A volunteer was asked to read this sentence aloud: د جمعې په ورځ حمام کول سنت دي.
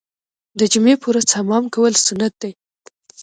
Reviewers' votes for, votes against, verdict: 1, 2, rejected